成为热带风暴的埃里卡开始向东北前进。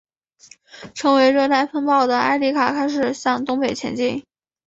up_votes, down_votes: 2, 0